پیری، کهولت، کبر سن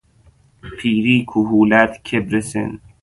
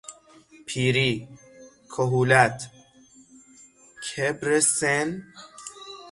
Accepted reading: first